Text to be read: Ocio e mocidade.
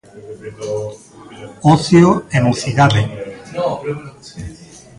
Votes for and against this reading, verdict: 0, 2, rejected